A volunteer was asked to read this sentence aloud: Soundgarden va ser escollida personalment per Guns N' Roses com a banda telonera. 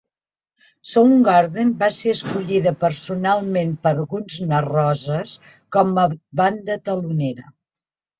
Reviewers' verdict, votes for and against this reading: rejected, 0, 2